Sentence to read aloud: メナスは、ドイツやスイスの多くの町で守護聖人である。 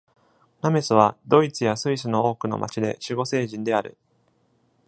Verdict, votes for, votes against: rejected, 1, 2